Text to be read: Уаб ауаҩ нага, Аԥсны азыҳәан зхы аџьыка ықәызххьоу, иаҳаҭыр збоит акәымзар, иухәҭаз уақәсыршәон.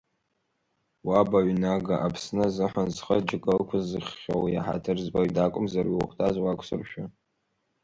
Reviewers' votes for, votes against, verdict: 2, 0, accepted